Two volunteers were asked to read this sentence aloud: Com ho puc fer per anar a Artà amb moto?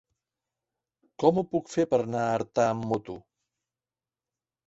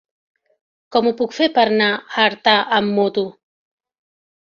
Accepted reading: first